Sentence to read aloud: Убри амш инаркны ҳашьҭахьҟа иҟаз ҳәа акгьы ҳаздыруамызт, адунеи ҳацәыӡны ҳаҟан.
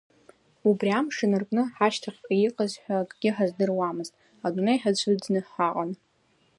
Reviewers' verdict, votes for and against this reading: accepted, 2, 0